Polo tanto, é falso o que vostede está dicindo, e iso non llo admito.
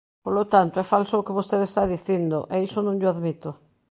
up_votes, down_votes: 2, 0